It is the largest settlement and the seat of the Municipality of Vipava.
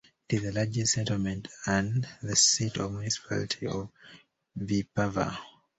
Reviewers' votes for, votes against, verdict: 1, 2, rejected